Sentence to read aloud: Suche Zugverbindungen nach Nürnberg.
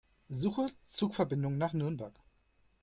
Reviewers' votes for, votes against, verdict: 2, 0, accepted